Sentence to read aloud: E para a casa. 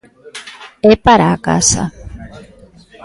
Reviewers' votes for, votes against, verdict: 1, 2, rejected